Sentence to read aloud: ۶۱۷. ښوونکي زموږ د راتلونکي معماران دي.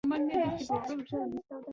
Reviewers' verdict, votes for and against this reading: rejected, 0, 2